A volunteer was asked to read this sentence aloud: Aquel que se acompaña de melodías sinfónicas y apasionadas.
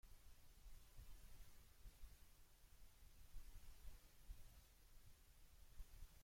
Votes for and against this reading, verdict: 0, 2, rejected